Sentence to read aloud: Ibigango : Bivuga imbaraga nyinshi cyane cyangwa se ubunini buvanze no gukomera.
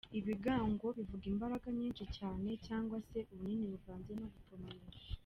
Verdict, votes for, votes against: rejected, 0, 2